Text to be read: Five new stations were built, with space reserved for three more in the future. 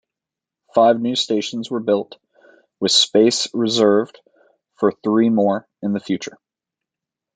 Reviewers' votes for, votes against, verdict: 2, 0, accepted